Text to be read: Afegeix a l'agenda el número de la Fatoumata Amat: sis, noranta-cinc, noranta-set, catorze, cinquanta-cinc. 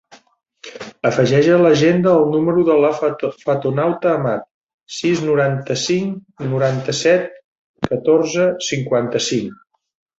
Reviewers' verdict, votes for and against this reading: rejected, 0, 2